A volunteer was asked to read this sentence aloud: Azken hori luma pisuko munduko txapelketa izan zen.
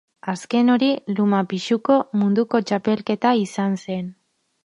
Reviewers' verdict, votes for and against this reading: rejected, 2, 4